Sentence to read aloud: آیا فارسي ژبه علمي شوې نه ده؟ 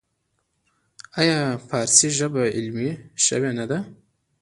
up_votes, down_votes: 1, 2